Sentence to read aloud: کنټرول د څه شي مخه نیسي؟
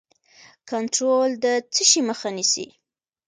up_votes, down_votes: 2, 0